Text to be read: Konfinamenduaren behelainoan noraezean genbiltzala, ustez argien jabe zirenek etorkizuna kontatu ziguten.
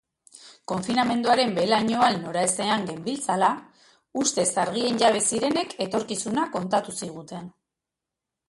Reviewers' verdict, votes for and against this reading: rejected, 1, 2